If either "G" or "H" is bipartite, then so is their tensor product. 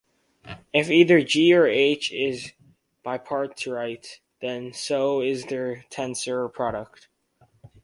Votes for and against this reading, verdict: 2, 4, rejected